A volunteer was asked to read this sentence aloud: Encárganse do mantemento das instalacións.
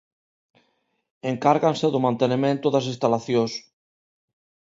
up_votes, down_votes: 0, 2